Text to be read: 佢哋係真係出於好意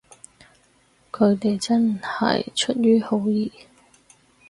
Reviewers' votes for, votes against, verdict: 2, 4, rejected